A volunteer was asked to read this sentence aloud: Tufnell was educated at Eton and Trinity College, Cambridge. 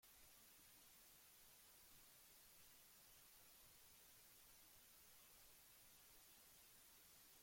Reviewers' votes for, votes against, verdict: 0, 2, rejected